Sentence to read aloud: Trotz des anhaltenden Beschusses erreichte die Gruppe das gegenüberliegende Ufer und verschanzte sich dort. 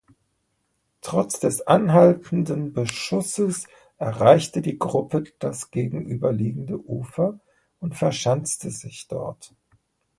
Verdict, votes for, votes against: accepted, 2, 0